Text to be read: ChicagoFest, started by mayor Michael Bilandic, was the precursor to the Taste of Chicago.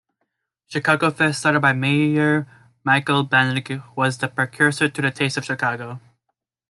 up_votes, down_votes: 0, 2